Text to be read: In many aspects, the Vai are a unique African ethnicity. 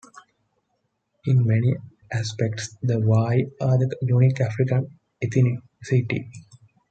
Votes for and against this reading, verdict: 1, 2, rejected